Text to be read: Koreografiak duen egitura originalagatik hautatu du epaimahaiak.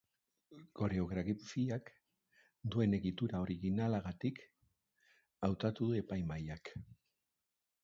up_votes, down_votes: 0, 2